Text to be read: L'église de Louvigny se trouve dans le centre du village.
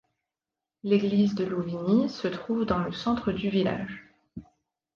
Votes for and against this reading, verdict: 2, 0, accepted